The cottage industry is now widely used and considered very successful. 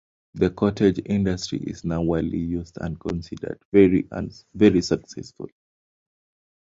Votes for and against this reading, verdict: 1, 2, rejected